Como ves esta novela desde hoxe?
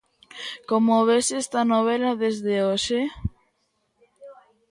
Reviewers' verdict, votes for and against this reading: rejected, 1, 2